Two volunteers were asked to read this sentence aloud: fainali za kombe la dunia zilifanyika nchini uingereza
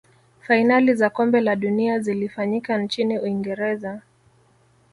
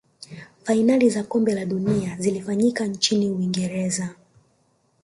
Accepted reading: first